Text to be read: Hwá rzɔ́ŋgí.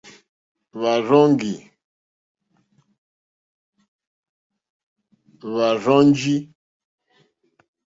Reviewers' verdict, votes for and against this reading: rejected, 1, 2